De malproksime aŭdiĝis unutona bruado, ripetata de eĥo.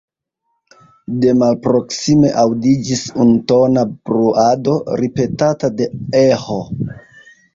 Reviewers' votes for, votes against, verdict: 1, 2, rejected